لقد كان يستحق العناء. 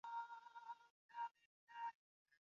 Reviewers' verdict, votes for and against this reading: rejected, 0, 2